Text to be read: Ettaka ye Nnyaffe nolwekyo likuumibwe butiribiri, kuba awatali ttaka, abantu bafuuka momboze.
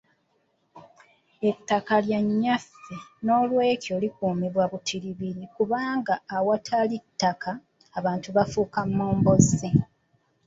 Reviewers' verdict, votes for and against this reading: rejected, 1, 2